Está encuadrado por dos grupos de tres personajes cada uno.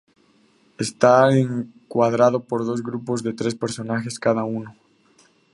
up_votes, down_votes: 2, 0